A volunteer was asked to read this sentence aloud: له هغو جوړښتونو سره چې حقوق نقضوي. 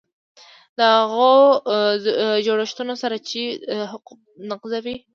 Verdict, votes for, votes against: rejected, 1, 2